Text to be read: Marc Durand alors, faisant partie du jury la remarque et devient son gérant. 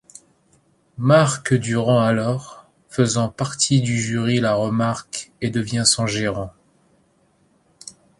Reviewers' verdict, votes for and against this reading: accepted, 3, 0